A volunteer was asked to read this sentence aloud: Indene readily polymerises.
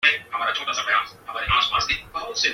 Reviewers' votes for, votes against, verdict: 0, 2, rejected